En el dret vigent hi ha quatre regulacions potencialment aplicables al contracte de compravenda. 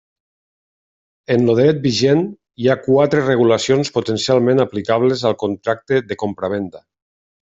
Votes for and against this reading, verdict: 0, 2, rejected